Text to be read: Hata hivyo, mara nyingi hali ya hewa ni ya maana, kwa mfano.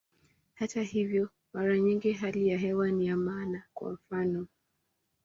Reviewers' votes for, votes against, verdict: 2, 0, accepted